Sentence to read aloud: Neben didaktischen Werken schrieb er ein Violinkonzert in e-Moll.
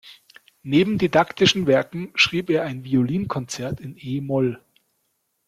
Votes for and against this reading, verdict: 2, 0, accepted